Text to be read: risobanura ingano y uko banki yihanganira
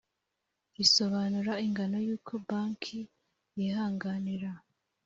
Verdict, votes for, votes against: accepted, 3, 0